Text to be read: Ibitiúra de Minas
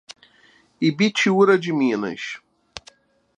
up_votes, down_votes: 2, 0